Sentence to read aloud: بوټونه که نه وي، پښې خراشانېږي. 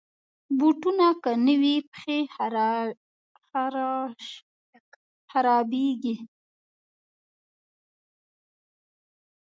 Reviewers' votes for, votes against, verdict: 0, 2, rejected